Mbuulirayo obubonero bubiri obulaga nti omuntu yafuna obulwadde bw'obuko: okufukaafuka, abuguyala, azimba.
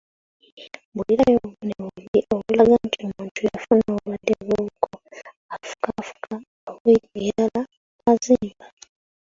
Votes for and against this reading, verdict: 0, 2, rejected